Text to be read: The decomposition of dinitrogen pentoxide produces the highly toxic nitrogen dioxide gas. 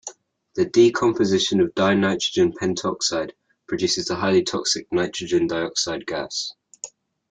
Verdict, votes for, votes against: accepted, 2, 0